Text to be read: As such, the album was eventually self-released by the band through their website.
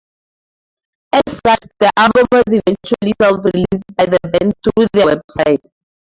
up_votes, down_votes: 0, 4